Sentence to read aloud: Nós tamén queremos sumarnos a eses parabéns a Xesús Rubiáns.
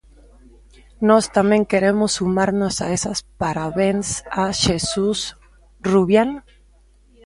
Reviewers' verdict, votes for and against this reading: rejected, 0, 2